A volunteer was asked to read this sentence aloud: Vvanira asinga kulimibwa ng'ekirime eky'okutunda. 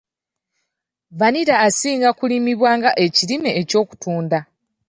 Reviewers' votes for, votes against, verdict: 2, 0, accepted